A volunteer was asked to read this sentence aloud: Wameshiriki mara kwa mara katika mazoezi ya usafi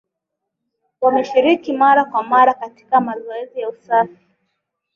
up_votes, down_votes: 3, 0